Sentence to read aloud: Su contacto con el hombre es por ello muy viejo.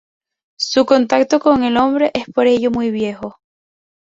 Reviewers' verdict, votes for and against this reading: accepted, 4, 0